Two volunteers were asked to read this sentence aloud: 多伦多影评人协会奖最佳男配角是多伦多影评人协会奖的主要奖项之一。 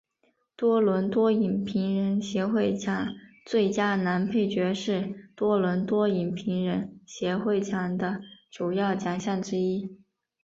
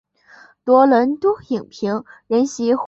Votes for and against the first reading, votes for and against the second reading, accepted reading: 4, 1, 0, 2, first